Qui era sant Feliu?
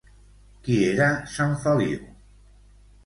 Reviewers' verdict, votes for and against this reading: rejected, 1, 2